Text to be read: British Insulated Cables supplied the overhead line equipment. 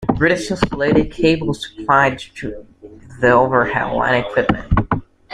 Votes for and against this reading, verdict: 0, 2, rejected